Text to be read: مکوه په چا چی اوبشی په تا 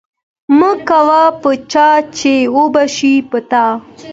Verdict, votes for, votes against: accepted, 2, 0